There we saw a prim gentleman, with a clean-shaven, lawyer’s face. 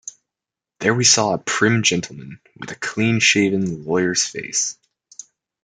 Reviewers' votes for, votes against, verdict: 2, 0, accepted